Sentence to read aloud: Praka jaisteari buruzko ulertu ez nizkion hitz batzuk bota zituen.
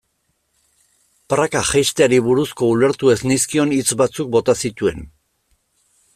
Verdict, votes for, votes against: accepted, 2, 0